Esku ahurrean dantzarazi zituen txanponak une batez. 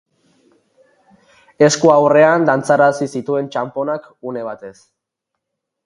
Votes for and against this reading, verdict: 4, 0, accepted